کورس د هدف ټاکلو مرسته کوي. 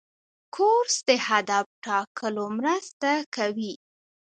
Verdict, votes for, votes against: rejected, 0, 2